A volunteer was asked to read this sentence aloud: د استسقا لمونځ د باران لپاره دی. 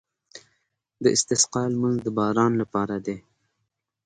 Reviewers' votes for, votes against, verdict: 2, 0, accepted